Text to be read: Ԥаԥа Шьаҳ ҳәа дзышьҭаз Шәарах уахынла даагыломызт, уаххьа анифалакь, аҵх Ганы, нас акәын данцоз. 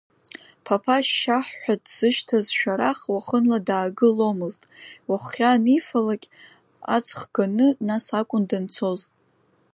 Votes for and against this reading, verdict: 2, 0, accepted